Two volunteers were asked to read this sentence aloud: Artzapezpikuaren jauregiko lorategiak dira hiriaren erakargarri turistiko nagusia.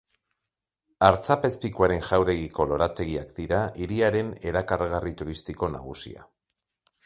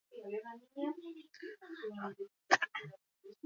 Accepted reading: first